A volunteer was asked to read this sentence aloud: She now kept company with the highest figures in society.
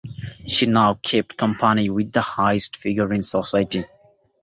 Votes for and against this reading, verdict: 2, 1, accepted